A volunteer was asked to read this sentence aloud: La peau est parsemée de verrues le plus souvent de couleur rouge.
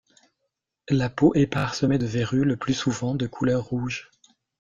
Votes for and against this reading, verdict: 1, 2, rejected